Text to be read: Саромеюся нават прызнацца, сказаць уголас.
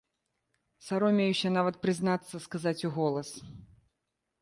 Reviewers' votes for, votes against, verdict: 2, 0, accepted